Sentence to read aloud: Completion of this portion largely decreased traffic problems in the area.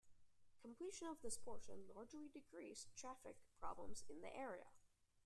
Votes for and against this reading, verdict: 2, 0, accepted